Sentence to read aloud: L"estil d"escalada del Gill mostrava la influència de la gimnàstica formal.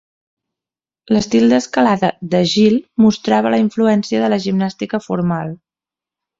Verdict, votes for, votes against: rejected, 0, 2